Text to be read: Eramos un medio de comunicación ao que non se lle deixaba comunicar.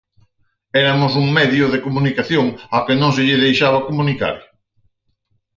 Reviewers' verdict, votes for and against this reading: rejected, 2, 4